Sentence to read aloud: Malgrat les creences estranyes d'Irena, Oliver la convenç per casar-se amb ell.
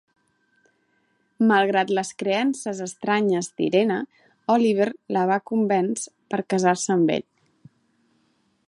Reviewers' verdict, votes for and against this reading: rejected, 1, 2